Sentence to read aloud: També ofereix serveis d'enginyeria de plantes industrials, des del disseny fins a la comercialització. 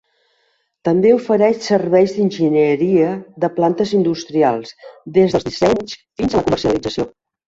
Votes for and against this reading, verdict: 0, 2, rejected